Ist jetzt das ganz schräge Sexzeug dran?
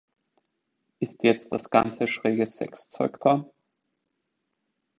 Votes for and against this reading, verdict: 1, 2, rejected